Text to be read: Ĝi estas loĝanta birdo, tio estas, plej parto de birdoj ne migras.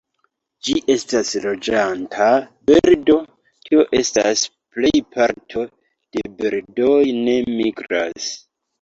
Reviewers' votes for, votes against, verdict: 2, 1, accepted